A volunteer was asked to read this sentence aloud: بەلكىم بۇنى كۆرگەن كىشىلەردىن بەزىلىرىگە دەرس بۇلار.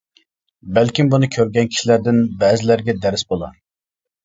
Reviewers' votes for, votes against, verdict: 0, 2, rejected